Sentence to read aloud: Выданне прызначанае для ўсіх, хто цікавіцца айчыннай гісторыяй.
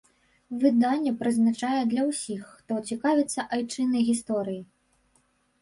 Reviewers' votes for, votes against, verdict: 1, 2, rejected